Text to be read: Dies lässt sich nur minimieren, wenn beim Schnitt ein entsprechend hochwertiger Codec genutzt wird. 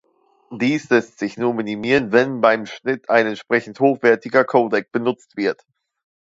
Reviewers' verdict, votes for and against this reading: rejected, 0, 2